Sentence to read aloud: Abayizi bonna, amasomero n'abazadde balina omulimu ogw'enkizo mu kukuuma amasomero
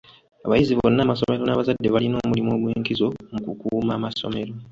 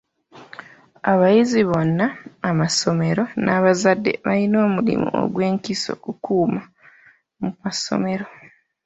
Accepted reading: first